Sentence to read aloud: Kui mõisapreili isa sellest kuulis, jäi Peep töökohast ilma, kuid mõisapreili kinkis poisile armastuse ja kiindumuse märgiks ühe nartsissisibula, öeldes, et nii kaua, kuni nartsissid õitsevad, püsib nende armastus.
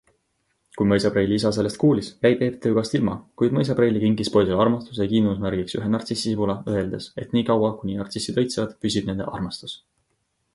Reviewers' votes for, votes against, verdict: 2, 0, accepted